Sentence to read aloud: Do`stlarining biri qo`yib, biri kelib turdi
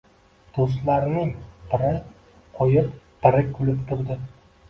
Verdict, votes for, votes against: rejected, 0, 2